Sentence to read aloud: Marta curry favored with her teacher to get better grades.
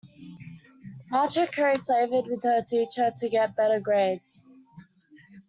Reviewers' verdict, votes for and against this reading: rejected, 1, 2